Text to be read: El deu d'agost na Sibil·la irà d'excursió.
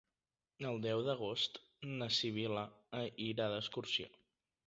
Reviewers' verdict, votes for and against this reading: rejected, 0, 2